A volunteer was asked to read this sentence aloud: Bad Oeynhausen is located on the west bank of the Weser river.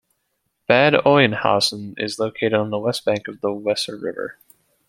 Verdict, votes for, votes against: accepted, 2, 0